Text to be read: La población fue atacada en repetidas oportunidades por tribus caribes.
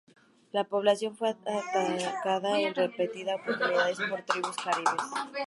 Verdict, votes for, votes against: rejected, 0, 2